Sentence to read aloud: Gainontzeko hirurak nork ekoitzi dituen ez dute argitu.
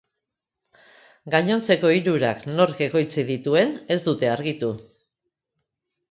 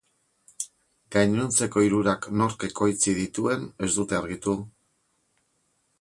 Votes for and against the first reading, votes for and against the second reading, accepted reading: 2, 0, 0, 2, first